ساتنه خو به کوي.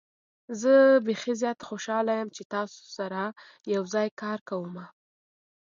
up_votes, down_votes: 0, 2